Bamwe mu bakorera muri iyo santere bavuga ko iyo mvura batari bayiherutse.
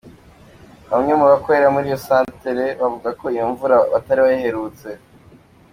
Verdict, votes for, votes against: accepted, 2, 1